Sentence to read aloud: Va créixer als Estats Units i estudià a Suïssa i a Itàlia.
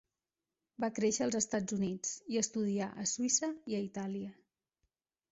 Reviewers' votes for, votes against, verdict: 2, 0, accepted